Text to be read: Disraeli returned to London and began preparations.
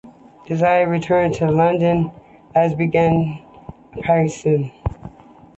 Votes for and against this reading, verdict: 2, 1, accepted